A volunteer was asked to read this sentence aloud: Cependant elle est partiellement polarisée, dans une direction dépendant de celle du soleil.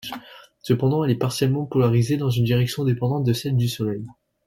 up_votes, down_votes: 2, 0